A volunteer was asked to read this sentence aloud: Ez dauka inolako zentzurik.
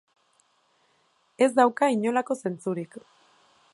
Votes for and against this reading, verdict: 2, 0, accepted